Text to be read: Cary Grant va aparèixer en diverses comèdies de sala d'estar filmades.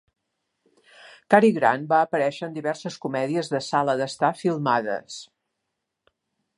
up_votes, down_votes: 3, 0